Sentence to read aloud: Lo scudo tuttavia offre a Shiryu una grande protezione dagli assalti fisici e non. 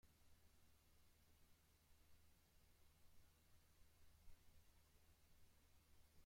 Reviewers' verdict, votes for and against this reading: rejected, 0, 2